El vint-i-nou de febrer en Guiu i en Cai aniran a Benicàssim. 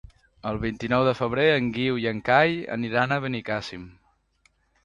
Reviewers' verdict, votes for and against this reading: accepted, 2, 0